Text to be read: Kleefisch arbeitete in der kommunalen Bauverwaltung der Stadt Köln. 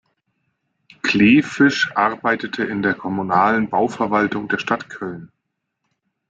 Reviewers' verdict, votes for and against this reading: accepted, 2, 0